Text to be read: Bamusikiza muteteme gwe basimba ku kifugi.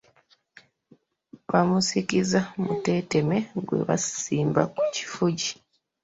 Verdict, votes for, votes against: rejected, 1, 2